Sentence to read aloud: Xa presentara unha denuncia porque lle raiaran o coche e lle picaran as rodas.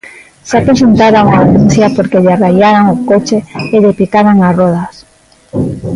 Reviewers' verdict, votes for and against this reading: accepted, 2, 1